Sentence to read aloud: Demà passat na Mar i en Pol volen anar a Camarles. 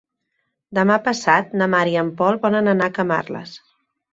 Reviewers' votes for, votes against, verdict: 3, 0, accepted